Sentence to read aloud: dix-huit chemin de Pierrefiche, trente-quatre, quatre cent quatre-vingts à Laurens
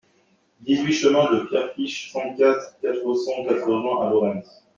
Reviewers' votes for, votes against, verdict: 2, 0, accepted